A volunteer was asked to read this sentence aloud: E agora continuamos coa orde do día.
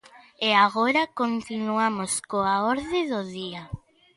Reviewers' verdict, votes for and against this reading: accepted, 2, 0